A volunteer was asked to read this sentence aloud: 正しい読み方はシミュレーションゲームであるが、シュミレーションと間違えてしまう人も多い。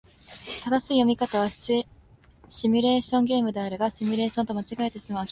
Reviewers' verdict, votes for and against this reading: rejected, 0, 2